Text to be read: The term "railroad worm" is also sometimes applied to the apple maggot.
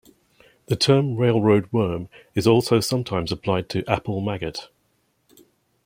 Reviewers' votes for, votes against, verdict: 1, 2, rejected